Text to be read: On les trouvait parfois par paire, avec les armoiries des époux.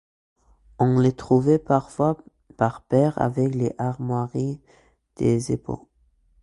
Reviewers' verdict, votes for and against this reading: accepted, 2, 1